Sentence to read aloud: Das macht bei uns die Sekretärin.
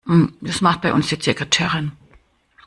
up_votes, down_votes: 1, 2